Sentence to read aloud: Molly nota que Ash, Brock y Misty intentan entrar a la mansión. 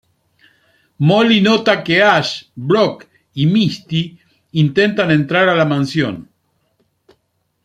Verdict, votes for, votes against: accepted, 2, 0